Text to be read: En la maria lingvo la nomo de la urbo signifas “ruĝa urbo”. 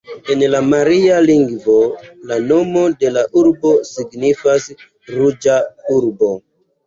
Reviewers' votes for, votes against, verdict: 2, 0, accepted